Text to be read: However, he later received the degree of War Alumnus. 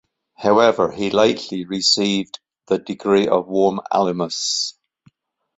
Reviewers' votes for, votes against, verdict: 0, 2, rejected